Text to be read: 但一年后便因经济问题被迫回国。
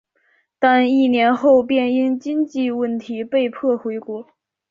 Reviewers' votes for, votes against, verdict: 2, 0, accepted